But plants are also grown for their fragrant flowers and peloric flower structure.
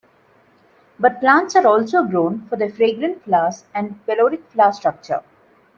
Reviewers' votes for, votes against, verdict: 2, 0, accepted